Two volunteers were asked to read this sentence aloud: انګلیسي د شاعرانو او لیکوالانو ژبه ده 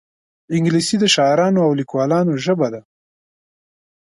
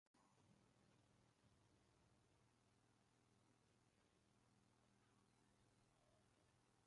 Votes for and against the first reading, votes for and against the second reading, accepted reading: 2, 0, 0, 2, first